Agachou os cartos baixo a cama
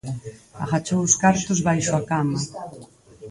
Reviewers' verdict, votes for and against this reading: rejected, 2, 4